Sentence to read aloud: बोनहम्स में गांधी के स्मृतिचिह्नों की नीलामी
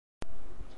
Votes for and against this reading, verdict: 0, 2, rejected